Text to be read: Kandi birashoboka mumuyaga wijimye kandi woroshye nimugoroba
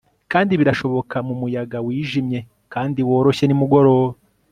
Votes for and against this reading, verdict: 2, 0, accepted